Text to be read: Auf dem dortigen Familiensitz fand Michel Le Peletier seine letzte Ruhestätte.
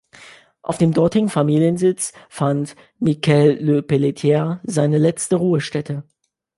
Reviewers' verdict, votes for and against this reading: rejected, 0, 2